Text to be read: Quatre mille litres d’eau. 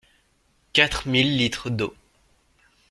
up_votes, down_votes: 2, 0